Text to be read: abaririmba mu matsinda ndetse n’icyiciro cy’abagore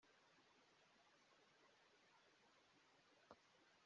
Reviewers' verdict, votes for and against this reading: rejected, 0, 2